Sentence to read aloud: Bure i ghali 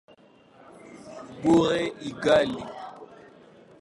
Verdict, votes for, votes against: rejected, 0, 2